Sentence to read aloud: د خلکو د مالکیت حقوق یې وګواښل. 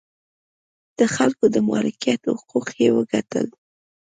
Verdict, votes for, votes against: rejected, 0, 2